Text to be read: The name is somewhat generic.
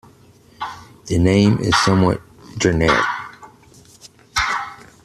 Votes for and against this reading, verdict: 2, 0, accepted